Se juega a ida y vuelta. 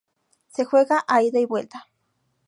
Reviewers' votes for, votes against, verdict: 2, 0, accepted